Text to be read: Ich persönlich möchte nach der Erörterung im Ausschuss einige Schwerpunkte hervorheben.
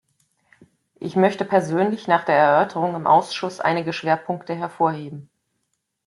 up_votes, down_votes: 0, 2